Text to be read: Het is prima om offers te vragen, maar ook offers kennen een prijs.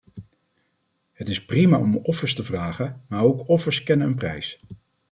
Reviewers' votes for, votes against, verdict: 2, 0, accepted